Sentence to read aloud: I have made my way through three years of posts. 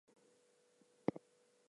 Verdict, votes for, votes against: accepted, 2, 0